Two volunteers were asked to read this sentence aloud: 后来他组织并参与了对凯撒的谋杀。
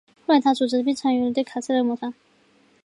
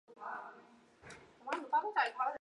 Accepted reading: first